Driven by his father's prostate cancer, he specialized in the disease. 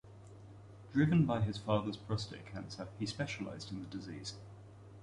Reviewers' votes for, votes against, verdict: 1, 2, rejected